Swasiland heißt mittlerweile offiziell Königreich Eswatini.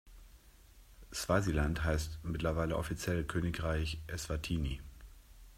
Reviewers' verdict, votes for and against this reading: accepted, 2, 0